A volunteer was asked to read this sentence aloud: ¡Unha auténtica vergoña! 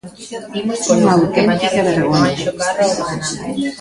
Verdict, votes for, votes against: rejected, 0, 2